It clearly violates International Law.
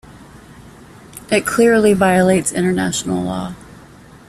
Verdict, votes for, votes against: accepted, 2, 0